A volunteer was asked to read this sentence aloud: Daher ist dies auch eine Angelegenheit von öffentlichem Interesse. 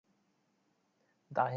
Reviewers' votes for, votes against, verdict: 0, 2, rejected